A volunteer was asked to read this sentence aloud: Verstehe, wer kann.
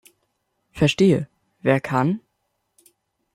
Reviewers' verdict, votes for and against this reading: accepted, 2, 1